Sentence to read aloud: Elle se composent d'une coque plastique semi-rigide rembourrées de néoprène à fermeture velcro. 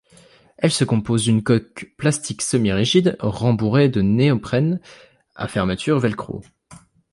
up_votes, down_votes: 2, 0